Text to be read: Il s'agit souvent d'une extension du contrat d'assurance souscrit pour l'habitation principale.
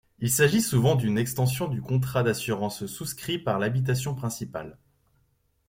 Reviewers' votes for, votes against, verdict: 1, 2, rejected